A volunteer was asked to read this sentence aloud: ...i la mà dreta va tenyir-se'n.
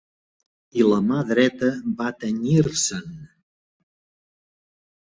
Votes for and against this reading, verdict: 3, 0, accepted